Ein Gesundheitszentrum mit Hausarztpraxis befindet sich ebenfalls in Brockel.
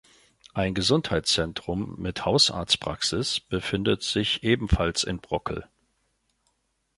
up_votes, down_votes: 2, 0